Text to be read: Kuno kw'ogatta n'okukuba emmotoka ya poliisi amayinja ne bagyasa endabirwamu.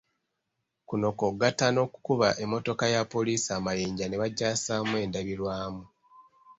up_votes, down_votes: 0, 2